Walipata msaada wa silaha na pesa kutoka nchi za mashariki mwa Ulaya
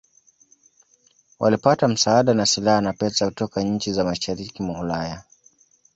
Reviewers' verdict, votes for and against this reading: accepted, 2, 1